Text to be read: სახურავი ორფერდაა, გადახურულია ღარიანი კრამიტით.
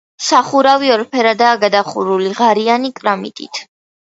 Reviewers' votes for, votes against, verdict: 0, 2, rejected